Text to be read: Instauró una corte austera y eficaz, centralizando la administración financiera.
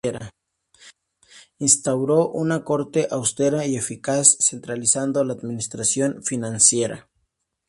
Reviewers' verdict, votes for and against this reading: rejected, 0, 2